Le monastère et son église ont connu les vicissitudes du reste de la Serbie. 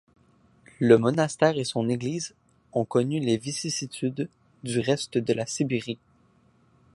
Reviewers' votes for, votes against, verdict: 0, 2, rejected